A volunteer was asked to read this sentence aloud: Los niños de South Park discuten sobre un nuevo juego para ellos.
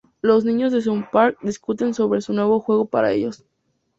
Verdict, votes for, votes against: accepted, 2, 0